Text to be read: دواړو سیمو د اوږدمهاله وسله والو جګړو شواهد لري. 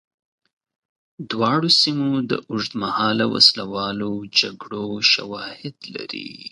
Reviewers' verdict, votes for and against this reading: accepted, 4, 0